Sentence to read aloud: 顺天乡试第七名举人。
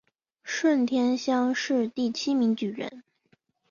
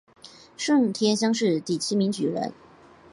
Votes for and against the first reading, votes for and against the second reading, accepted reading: 2, 0, 1, 2, first